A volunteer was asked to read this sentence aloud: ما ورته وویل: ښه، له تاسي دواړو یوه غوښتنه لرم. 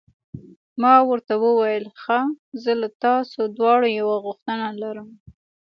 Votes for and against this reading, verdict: 1, 2, rejected